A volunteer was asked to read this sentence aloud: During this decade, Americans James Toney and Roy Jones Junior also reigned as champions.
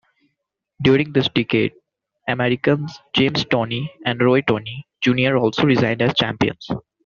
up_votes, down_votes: 1, 2